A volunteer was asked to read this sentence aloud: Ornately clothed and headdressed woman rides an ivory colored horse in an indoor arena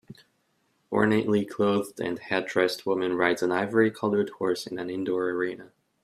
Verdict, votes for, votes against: accepted, 2, 0